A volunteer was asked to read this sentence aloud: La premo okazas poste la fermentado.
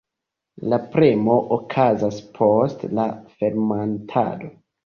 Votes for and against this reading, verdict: 0, 2, rejected